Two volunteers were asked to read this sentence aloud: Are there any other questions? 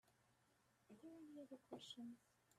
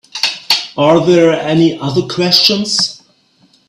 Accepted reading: second